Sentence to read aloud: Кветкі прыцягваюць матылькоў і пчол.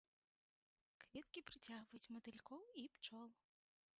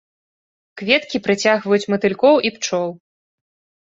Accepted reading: second